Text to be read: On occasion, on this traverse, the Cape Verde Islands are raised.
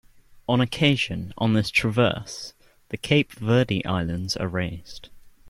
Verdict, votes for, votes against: accepted, 2, 0